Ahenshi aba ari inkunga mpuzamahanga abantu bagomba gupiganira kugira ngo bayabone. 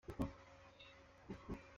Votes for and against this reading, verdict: 0, 3, rejected